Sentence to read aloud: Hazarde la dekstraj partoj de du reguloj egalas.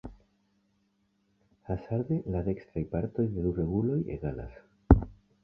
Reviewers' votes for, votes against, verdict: 2, 0, accepted